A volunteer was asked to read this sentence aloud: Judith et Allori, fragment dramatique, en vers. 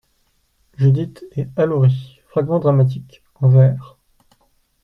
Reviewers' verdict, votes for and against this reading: rejected, 0, 2